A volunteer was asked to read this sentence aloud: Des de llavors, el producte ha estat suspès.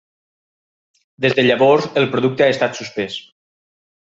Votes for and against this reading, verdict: 3, 0, accepted